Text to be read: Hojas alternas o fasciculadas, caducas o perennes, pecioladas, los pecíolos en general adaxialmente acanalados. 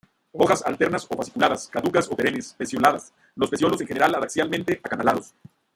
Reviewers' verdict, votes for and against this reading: rejected, 0, 2